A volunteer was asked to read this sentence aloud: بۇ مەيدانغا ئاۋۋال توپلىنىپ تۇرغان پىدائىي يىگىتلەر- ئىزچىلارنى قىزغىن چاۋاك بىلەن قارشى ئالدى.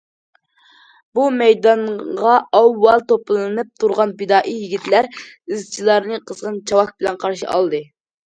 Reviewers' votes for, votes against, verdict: 2, 0, accepted